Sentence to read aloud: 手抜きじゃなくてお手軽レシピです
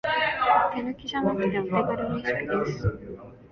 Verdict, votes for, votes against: rejected, 1, 2